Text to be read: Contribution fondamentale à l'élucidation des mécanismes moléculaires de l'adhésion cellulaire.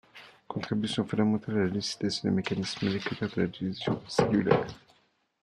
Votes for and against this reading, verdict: 0, 2, rejected